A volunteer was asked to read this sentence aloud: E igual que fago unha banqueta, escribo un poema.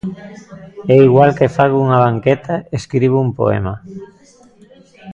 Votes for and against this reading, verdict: 2, 0, accepted